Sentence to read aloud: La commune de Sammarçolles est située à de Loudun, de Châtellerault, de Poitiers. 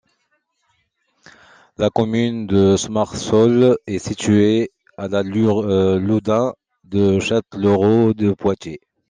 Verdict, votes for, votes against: rejected, 0, 2